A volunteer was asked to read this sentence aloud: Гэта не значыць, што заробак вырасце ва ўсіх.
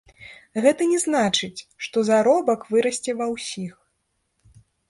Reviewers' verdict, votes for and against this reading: rejected, 1, 3